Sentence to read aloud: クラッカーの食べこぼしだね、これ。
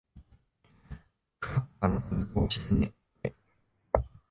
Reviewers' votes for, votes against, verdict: 1, 2, rejected